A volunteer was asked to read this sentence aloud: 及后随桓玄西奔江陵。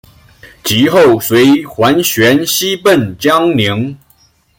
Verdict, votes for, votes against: accepted, 2, 1